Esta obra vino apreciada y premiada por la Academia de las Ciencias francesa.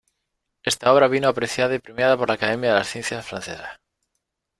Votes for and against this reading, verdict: 2, 1, accepted